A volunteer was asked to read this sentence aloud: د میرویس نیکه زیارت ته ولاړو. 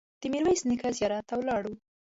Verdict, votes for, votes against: accepted, 2, 0